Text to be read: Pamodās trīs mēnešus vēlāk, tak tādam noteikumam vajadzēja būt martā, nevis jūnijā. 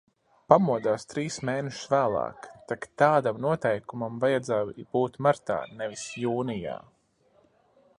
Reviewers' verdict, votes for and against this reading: accepted, 2, 1